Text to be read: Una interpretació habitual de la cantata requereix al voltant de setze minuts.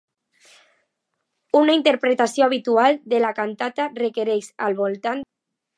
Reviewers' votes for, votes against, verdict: 0, 2, rejected